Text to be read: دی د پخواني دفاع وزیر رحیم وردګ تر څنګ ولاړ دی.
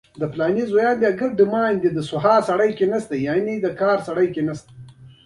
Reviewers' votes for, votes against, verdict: 1, 2, rejected